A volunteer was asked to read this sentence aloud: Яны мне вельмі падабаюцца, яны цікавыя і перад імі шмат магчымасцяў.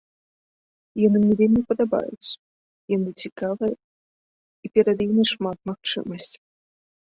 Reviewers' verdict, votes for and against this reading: accepted, 2, 1